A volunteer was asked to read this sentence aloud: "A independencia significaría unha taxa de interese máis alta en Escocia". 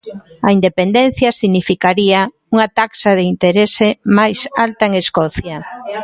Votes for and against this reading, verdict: 1, 2, rejected